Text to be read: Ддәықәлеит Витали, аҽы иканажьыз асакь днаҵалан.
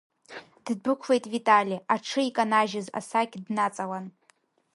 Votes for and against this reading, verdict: 2, 0, accepted